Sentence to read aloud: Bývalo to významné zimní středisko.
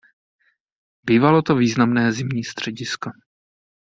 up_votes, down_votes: 2, 0